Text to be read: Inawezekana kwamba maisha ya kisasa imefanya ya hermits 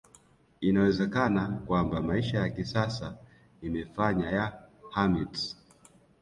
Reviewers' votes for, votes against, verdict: 1, 2, rejected